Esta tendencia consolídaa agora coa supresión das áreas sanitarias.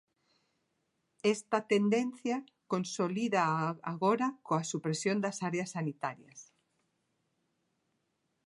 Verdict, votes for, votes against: accepted, 2, 0